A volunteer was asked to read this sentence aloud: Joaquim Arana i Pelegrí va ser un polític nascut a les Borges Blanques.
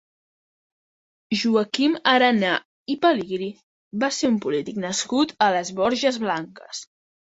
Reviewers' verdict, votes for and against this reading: accepted, 2, 1